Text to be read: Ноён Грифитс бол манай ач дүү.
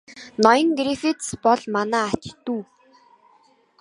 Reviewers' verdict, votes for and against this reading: rejected, 0, 2